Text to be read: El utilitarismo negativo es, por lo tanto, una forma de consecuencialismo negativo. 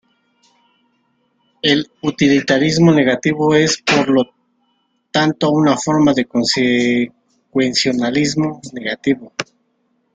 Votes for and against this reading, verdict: 0, 2, rejected